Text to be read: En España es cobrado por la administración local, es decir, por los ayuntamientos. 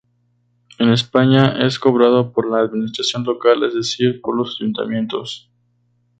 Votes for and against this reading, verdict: 2, 2, rejected